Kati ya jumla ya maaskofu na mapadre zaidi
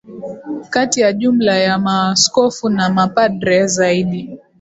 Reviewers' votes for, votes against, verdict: 8, 4, accepted